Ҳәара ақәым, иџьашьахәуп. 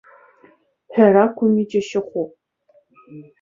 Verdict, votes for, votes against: accepted, 2, 1